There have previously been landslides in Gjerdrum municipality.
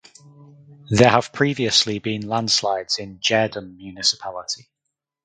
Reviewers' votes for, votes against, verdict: 0, 2, rejected